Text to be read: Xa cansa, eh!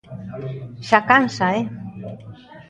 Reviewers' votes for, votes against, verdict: 2, 0, accepted